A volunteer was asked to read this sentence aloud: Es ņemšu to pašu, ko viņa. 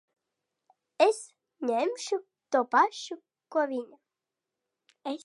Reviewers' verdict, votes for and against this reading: rejected, 1, 2